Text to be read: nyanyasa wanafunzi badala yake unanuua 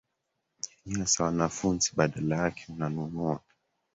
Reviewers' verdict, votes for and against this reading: rejected, 1, 2